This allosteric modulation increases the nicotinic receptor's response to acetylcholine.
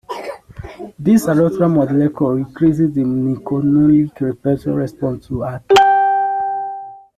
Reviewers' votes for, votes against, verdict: 0, 2, rejected